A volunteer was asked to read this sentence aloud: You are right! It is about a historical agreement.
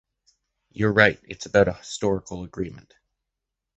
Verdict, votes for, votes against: rejected, 1, 2